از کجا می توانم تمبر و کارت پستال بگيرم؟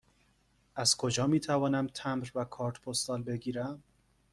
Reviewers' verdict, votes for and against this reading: accepted, 2, 0